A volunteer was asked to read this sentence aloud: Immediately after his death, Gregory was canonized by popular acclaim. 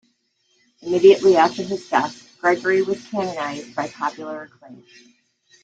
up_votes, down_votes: 2, 0